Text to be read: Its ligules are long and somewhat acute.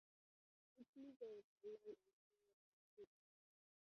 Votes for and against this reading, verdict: 0, 2, rejected